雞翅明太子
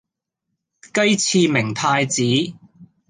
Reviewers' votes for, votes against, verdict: 2, 0, accepted